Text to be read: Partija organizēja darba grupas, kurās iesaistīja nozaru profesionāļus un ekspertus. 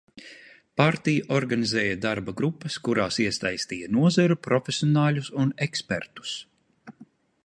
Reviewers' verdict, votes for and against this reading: accepted, 2, 0